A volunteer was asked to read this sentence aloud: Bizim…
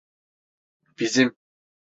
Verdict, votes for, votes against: accepted, 2, 0